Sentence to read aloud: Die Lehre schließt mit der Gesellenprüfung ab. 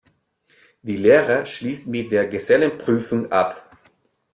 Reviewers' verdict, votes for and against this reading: accepted, 2, 0